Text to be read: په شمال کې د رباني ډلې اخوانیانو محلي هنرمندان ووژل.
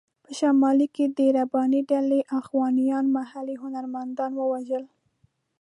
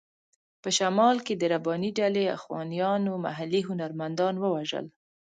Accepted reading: second